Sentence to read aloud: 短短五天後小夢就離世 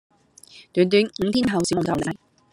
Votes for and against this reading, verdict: 0, 2, rejected